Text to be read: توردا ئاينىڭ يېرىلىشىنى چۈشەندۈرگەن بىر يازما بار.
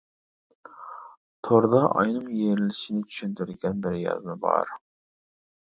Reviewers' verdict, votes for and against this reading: rejected, 1, 2